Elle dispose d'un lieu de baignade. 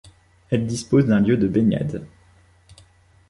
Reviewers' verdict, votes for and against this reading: accepted, 2, 0